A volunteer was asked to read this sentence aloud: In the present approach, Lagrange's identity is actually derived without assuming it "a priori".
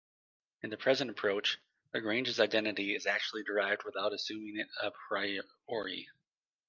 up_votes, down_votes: 1, 2